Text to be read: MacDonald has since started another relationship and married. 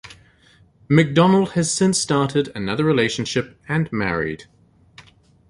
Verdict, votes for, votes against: accepted, 2, 0